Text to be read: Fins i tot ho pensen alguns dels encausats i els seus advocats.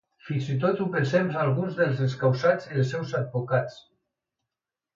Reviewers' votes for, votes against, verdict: 1, 2, rejected